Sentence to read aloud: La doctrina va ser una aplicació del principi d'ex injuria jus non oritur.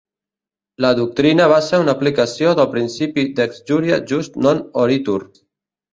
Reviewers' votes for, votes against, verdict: 1, 2, rejected